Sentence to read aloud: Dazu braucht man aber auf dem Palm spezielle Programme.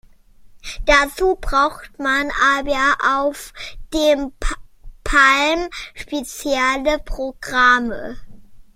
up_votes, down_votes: 1, 2